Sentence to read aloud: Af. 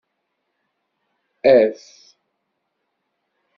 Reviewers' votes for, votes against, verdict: 2, 0, accepted